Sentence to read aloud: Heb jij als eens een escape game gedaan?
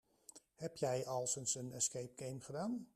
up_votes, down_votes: 0, 2